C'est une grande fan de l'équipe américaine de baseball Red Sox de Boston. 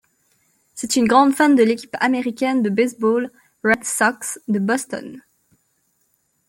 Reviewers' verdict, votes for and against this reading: accepted, 2, 0